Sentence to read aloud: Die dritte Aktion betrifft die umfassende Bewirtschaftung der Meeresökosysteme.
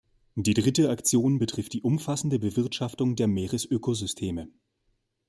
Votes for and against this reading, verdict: 2, 0, accepted